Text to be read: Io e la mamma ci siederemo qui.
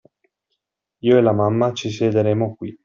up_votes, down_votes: 2, 0